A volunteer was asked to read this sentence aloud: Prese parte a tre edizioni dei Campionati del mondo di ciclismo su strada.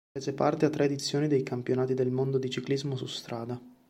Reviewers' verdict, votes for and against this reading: accepted, 2, 0